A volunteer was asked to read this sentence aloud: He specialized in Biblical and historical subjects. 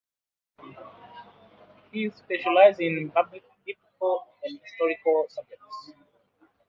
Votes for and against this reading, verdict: 0, 2, rejected